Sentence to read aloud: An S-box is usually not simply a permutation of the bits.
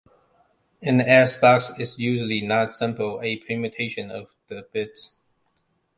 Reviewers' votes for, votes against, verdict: 1, 2, rejected